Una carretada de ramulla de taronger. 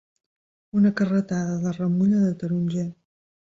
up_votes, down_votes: 2, 0